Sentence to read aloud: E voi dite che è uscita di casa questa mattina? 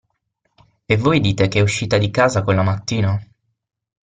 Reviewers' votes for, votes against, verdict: 0, 6, rejected